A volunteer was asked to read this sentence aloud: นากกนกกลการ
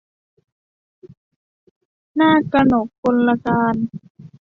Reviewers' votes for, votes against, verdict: 2, 0, accepted